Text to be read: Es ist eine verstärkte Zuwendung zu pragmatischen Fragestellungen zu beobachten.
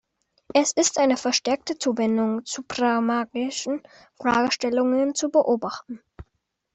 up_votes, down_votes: 0, 2